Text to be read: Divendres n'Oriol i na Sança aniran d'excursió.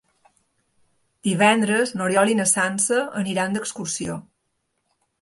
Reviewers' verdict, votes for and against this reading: accepted, 3, 0